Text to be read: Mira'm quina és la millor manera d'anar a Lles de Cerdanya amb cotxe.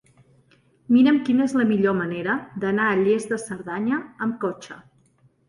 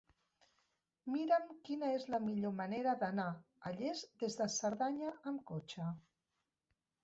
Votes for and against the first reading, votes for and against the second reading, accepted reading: 2, 0, 0, 2, first